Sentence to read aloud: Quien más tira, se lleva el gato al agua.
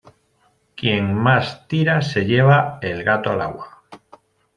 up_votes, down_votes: 2, 0